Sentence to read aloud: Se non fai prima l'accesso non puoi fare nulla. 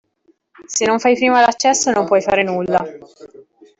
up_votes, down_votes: 2, 1